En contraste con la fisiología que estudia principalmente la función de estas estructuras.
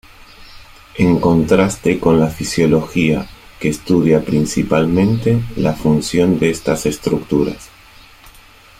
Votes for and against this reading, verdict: 2, 0, accepted